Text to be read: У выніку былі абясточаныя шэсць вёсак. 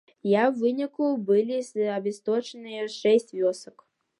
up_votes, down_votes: 0, 2